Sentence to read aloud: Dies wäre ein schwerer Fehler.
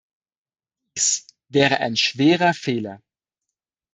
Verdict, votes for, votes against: rejected, 0, 2